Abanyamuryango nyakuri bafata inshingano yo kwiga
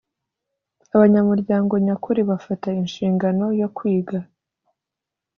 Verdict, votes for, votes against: accepted, 2, 0